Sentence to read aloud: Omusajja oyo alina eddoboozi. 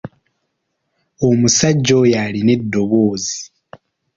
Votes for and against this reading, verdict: 2, 0, accepted